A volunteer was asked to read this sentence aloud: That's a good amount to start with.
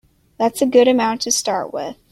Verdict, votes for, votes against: accepted, 2, 0